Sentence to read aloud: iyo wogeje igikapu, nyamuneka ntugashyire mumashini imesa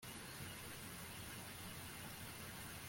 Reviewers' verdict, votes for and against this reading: rejected, 0, 3